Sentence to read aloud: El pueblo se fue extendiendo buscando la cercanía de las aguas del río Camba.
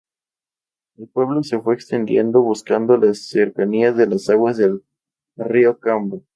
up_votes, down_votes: 0, 2